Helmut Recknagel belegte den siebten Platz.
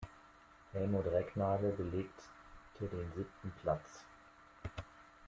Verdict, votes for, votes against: rejected, 0, 2